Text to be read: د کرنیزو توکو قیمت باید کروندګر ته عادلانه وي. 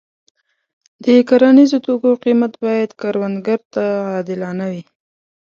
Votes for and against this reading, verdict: 2, 0, accepted